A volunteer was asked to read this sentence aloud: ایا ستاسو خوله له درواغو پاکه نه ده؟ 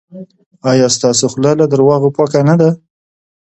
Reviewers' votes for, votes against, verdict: 2, 1, accepted